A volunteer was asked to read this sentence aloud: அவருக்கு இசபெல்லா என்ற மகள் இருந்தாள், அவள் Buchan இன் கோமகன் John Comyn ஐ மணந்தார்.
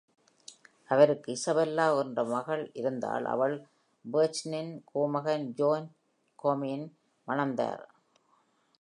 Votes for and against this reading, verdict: 1, 2, rejected